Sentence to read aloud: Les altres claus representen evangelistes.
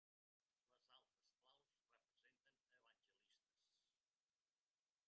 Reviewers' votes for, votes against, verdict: 1, 4, rejected